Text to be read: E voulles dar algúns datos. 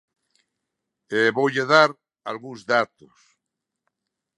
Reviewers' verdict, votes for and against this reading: rejected, 0, 2